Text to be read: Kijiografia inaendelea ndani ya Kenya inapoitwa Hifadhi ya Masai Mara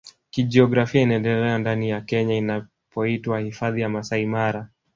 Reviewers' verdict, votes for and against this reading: rejected, 0, 2